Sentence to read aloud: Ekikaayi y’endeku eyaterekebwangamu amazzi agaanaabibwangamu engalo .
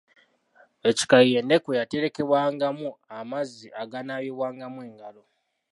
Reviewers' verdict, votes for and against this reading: accepted, 2, 0